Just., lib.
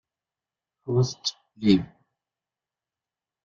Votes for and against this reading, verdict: 1, 2, rejected